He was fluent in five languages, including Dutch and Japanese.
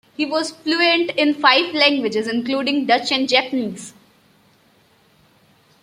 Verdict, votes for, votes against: accepted, 2, 0